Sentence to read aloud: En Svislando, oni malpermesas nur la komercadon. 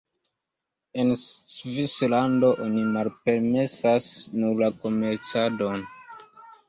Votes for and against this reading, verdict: 2, 0, accepted